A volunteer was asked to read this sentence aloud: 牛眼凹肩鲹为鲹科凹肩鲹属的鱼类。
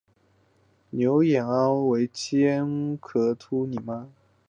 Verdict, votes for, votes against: rejected, 0, 3